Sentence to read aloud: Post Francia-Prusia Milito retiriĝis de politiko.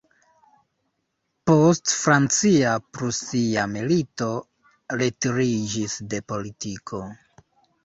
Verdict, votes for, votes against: rejected, 1, 2